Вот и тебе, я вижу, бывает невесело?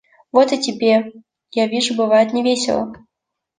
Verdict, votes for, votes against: accepted, 2, 0